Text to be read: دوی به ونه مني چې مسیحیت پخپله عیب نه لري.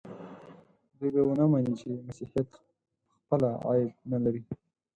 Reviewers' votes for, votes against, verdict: 2, 4, rejected